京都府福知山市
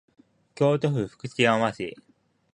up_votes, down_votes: 0, 2